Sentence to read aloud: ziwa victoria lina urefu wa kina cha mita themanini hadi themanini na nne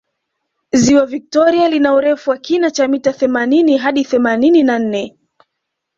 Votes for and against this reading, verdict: 2, 0, accepted